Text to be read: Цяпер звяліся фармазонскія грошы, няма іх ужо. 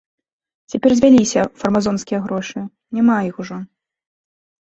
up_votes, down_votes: 2, 0